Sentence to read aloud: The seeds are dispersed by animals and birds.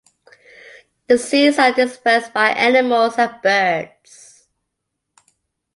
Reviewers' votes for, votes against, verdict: 3, 0, accepted